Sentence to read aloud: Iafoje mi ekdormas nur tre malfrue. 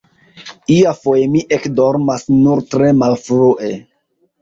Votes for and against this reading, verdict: 2, 1, accepted